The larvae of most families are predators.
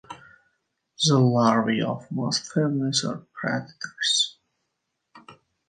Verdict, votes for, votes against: accepted, 2, 0